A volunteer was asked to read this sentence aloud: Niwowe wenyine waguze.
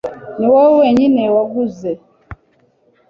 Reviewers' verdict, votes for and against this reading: accepted, 2, 0